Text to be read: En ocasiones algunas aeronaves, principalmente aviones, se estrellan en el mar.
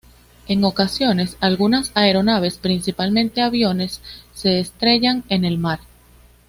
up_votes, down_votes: 2, 0